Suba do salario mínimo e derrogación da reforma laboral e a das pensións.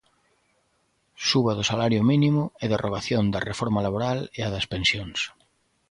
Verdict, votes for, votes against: accepted, 2, 0